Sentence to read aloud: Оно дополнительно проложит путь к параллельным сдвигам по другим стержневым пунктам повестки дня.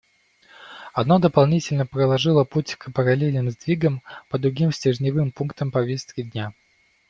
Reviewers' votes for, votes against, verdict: 1, 2, rejected